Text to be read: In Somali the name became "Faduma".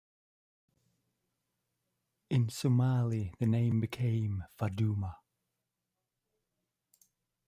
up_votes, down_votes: 2, 1